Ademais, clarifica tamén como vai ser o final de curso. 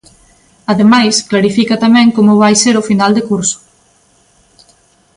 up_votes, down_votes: 2, 0